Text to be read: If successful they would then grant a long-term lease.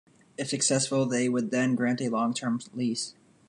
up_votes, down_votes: 2, 0